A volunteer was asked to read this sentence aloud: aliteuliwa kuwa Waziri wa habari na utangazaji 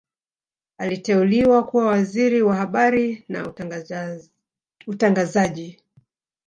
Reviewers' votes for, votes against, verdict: 0, 2, rejected